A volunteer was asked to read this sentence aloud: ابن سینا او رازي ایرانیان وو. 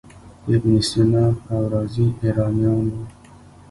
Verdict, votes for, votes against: rejected, 1, 2